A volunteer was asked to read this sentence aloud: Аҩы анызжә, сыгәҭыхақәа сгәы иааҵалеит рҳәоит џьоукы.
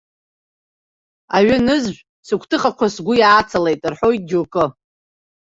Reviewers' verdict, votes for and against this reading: rejected, 0, 2